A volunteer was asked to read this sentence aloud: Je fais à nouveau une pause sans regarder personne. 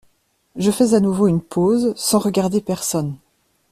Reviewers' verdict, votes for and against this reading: accepted, 2, 0